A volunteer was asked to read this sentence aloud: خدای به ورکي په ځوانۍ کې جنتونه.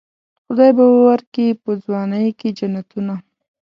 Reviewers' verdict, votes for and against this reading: accepted, 2, 0